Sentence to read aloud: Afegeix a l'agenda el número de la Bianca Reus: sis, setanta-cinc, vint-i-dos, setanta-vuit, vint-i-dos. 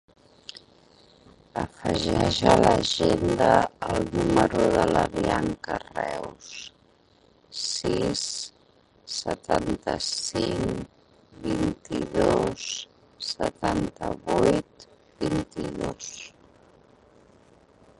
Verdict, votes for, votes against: rejected, 0, 2